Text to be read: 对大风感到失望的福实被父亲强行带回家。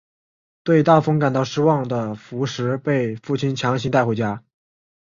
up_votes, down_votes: 4, 0